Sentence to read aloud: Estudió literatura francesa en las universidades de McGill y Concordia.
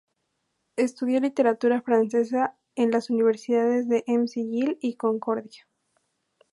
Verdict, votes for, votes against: rejected, 0, 2